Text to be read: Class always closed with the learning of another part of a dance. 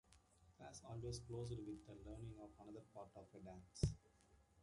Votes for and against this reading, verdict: 0, 2, rejected